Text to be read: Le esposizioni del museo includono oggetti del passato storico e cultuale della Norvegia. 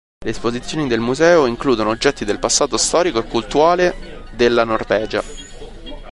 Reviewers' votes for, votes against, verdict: 0, 2, rejected